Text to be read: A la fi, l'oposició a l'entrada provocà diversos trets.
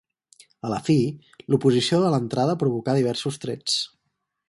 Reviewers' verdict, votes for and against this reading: rejected, 0, 4